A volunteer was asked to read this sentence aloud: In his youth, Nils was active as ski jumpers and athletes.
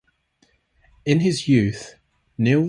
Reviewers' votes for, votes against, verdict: 0, 2, rejected